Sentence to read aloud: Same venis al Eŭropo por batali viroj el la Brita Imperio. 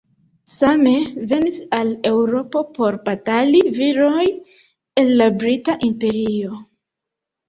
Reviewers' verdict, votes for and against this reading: accepted, 2, 0